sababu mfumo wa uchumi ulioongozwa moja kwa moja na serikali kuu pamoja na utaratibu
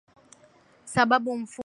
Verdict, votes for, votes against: rejected, 0, 2